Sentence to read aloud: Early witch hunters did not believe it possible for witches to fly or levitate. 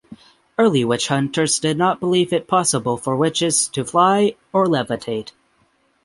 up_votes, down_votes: 6, 0